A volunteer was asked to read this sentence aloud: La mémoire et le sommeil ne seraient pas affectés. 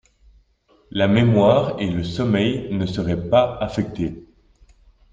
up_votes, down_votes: 2, 0